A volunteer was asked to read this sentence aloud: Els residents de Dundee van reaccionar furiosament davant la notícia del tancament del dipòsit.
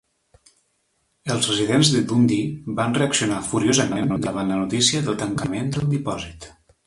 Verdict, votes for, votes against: accepted, 2, 0